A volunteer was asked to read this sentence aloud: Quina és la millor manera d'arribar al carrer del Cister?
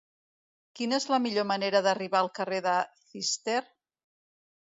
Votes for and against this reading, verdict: 1, 2, rejected